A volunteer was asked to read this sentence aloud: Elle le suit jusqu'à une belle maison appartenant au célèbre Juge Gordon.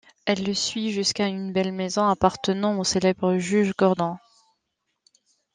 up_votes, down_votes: 0, 2